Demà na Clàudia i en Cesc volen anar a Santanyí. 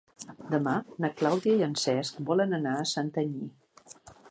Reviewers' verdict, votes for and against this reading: accepted, 2, 0